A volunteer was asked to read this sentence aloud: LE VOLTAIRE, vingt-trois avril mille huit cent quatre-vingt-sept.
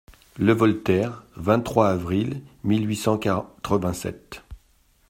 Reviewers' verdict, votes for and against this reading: rejected, 1, 2